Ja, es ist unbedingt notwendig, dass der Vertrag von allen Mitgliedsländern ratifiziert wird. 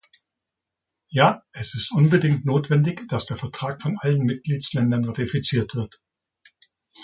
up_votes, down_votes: 2, 1